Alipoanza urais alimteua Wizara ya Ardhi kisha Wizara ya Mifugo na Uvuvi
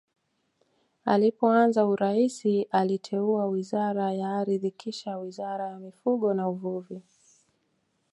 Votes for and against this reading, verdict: 2, 1, accepted